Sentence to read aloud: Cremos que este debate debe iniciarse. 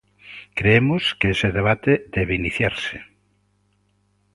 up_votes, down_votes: 1, 2